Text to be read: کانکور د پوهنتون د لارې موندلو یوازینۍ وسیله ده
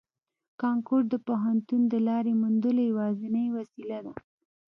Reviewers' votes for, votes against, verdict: 2, 0, accepted